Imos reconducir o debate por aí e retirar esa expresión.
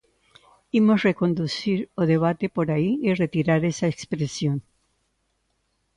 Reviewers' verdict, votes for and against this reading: accepted, 2, 1